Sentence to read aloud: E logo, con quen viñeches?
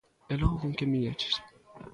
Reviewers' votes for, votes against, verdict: 1, 2, rejected